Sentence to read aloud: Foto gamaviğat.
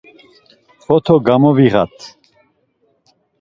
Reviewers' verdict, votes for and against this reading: accepted, 2, 0